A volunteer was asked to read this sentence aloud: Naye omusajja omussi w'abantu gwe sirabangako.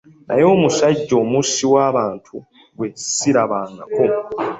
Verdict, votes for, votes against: rejected, 0, 2